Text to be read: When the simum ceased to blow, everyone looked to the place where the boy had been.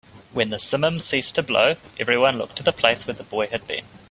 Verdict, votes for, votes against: accepted, 2, 1